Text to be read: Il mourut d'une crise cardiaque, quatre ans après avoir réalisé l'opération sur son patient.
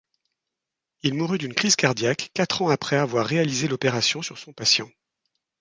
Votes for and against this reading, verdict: 2, 0, accepted